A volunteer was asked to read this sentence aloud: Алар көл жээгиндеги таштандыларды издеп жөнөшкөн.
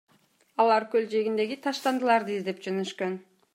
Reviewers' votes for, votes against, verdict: 2, 0, accepted